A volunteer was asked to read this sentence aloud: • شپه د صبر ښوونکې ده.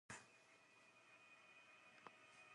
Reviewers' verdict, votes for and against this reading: rejected, 0, 2